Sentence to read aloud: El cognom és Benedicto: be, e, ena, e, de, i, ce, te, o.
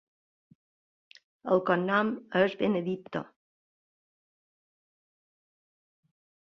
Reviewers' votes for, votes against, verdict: 0, 2, rejected